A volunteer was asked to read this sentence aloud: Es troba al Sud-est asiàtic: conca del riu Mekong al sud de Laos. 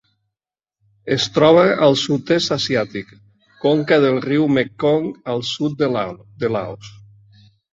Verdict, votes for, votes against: rejected, 1, 2